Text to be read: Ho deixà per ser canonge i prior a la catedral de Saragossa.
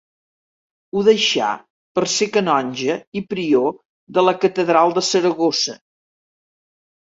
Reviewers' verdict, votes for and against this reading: rejected, 2, 3